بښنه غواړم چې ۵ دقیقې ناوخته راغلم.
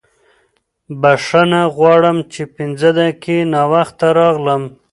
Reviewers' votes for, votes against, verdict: 0, 2, rejected